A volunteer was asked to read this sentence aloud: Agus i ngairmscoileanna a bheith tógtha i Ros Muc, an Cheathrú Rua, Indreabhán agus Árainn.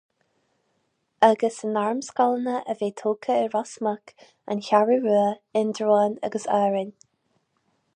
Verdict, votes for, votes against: rejected, 2, 2